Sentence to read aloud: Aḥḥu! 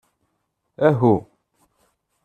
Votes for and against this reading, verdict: 0, 2, rejected